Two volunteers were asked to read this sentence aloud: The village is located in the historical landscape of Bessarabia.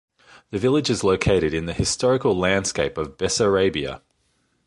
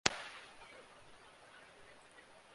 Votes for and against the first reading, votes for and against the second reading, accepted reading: 2, 0, 0, 2, first